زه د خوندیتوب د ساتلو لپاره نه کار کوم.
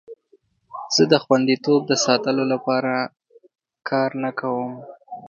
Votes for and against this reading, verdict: 1, 2, rejected